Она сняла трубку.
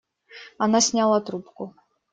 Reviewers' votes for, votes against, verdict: 2, 1, accepted